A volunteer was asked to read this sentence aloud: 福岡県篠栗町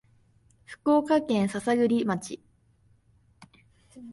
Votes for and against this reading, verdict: 2, 0, accepted